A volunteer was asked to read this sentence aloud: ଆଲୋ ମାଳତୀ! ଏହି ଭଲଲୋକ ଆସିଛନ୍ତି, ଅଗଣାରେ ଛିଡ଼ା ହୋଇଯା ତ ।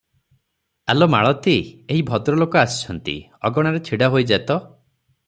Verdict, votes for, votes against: rejected, 0, 3